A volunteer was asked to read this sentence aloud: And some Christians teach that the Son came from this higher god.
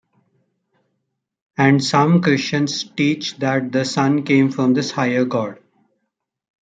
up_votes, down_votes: 2, 0